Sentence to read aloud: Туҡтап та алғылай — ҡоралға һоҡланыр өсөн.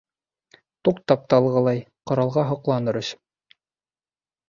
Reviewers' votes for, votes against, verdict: 3, 0, accepted